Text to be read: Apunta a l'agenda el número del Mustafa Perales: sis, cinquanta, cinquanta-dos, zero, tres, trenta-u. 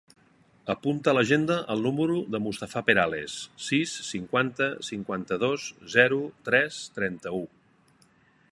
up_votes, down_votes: 1, 2